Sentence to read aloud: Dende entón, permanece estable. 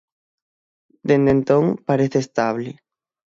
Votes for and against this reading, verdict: 3, 24, rejected